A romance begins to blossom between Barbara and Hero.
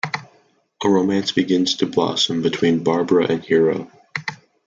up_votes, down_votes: 2, 0